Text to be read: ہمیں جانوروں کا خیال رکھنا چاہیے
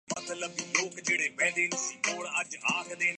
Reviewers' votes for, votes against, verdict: 0, 2, rejected